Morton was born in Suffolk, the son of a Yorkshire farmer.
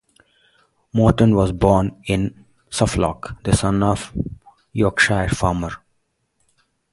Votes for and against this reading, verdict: 2, 2, rejected